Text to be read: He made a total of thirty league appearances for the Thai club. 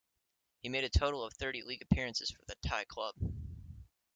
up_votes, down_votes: 2, 0